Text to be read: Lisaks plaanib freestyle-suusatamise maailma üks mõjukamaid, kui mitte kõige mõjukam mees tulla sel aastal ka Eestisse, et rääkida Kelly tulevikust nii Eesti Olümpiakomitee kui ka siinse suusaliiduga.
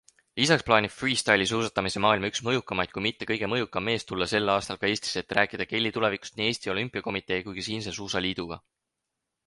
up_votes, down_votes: 0, 4